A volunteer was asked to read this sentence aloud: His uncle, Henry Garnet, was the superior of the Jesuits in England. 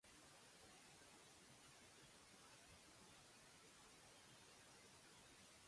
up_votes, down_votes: 0, 2